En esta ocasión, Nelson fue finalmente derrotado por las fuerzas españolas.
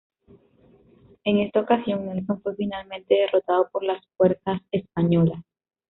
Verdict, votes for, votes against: accepted, 2, 0